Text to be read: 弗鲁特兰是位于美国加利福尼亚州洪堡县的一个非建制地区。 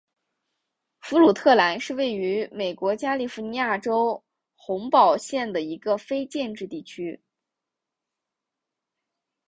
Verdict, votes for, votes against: accepted, 2, 1